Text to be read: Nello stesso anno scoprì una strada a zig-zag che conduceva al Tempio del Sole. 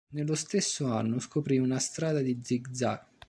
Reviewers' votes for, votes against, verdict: 0, 2, rejected